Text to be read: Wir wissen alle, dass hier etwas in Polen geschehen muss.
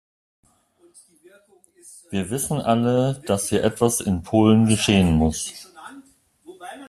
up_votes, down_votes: 1, 2